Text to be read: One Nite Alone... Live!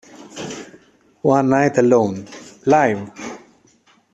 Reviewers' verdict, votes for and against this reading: rejected, 0, 2